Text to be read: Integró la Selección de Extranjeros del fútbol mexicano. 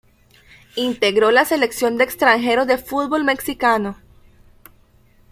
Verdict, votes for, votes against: rejected, 0, 2